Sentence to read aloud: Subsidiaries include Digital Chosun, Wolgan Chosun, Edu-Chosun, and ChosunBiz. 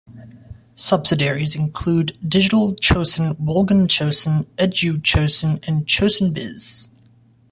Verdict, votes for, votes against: rejected, 1, 2